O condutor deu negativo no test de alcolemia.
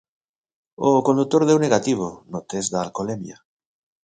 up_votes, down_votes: 2, 0